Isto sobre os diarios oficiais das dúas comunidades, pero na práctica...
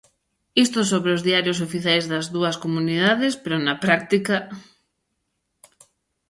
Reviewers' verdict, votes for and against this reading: accepted, 2, 0